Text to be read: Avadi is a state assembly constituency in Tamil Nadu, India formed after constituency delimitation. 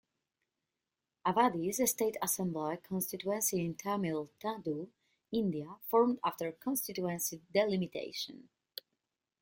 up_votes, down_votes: 2, 0